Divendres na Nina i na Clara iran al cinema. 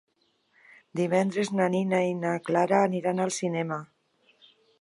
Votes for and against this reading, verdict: 1, 2, rejected